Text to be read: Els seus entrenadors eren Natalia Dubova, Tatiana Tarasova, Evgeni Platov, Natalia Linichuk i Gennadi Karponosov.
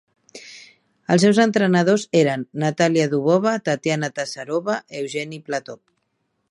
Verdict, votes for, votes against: rejected, 0, 2